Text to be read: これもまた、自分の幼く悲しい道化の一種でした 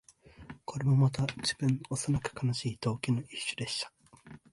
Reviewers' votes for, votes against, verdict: 2, 0, accepted